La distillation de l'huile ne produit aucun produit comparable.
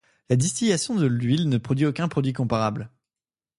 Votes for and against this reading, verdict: 1, 2, rejected